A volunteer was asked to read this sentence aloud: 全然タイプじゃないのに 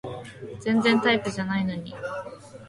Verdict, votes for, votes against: accepted, 2, 0